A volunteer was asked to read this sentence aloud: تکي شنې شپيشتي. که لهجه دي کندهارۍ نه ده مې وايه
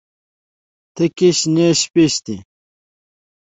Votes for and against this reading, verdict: 2, 1, accepted